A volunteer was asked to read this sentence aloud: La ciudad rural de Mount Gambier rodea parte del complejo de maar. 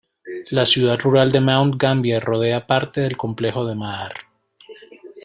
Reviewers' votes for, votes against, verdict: 0, 2, rejected